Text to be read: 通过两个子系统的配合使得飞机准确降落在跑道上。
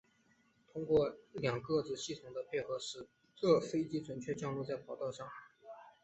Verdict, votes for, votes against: rejected, 0, 2